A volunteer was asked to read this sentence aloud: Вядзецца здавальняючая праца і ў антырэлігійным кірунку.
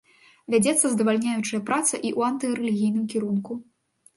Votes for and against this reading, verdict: 2, 0, accepted